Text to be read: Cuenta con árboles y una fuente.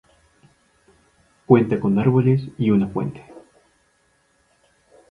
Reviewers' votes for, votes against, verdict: 0, 2, rejected